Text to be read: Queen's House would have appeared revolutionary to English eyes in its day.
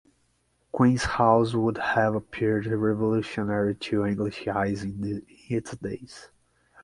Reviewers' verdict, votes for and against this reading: rejected, 0, 6